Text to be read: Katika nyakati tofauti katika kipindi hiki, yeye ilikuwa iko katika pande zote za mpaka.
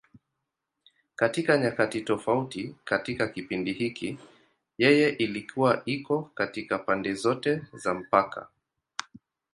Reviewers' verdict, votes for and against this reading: accepted, 2, 0